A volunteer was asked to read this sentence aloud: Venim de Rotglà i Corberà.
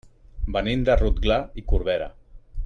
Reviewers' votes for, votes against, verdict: 1, 2, rejected